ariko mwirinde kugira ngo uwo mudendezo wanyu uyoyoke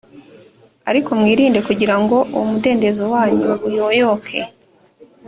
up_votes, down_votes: 3, 0